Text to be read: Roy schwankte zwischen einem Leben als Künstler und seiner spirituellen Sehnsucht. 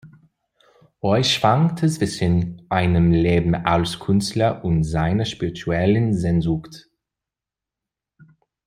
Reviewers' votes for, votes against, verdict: 2, 0, accepted